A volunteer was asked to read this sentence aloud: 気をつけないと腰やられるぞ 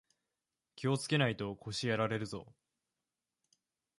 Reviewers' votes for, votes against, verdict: 2, 0, accepted